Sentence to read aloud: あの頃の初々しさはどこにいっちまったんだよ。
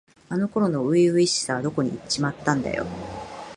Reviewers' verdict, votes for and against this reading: accepted, 2, 0